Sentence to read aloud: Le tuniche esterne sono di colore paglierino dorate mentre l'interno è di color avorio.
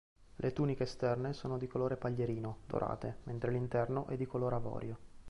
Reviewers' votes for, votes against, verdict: 2, 0, accepted